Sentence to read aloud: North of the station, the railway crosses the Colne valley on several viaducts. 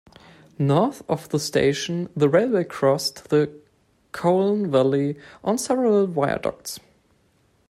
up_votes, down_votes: 2, 1